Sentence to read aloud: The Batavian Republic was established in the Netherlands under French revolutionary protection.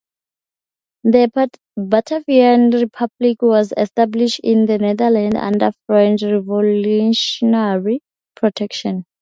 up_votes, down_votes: 0, 2